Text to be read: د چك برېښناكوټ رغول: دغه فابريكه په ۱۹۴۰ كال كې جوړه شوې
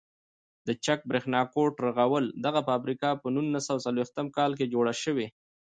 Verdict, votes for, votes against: rejected, 0, 2